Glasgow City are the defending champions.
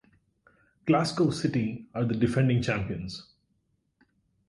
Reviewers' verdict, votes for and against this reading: accepted, 6, 0